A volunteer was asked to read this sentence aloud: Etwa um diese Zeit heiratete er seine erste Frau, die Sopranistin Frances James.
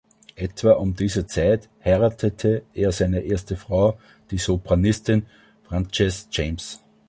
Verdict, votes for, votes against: accepted, 2, 0